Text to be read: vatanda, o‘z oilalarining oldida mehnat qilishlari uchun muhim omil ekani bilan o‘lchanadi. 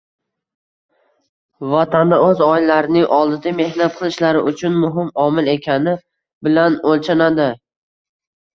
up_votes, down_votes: 0, 2